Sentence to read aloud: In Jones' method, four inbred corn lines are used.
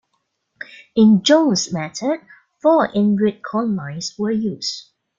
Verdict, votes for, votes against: rejected, 2, 3